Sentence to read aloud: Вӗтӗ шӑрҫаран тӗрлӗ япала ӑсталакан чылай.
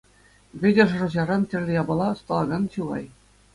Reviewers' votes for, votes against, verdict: 2, 0, accepted